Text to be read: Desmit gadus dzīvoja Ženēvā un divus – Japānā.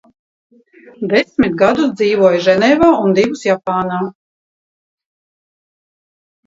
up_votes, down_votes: 2, 0